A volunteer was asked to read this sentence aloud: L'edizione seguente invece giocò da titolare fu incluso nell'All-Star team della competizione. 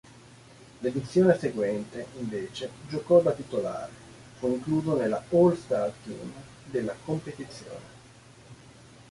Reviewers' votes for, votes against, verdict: 3, 1, accepted